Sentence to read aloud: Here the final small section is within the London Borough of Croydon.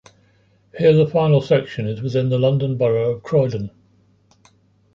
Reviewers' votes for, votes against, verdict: 0, 2, rejected